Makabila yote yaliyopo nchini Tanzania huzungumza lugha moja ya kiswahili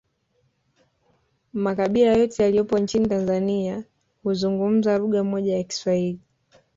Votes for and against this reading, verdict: 2, 1, accepted